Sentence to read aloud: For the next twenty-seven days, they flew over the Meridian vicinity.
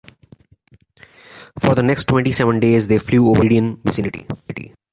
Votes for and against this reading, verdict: 2, 0, accepted